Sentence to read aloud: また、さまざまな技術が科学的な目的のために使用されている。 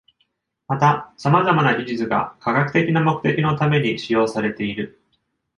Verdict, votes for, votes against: accepted, 2, 0